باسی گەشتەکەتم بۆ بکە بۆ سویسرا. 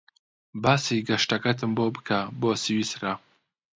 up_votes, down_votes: 2, 0